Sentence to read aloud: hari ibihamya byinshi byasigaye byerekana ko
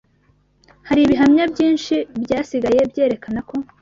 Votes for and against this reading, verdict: 2, 0, accepted